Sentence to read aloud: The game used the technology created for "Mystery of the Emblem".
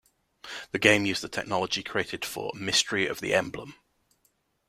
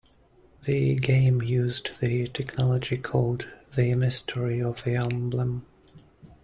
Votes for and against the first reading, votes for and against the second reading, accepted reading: 2, 0, 0, 2, first